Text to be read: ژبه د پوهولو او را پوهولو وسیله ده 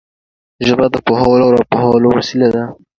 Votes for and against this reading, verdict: 2, 1, accepted